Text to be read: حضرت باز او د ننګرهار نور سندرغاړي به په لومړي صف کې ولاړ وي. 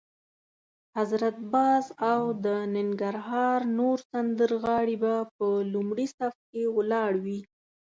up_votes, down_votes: 2, 0